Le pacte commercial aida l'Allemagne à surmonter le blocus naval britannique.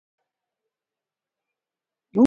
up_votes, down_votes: 1, 2